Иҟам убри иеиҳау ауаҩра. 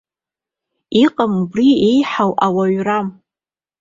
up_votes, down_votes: 2, 1